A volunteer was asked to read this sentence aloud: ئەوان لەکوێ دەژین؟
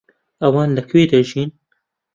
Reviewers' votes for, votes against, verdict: 2, 0, accepted